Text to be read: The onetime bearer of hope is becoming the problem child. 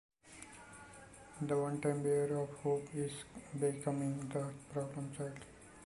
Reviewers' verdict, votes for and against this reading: rejected, 1, 2